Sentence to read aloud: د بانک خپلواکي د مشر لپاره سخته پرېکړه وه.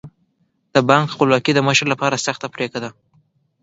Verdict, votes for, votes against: rejected, 0, 2